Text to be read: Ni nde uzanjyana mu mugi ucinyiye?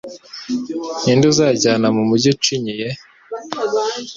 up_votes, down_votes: 2, 0